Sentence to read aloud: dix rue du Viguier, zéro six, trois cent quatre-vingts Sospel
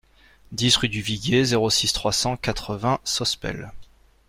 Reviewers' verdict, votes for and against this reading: accepted, 2, 0